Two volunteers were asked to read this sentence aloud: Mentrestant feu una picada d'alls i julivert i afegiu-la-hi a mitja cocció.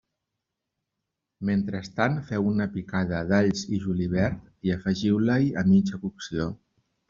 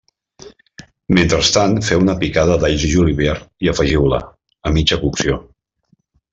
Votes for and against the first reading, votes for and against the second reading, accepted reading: 2, 0, 0, 2, first